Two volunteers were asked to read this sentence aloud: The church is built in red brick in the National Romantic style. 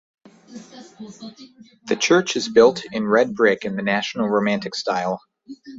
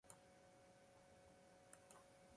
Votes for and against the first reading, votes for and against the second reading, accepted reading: 2, 0, 0, 2, first